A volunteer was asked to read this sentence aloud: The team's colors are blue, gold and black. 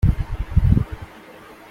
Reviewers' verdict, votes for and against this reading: rejected, 0, 2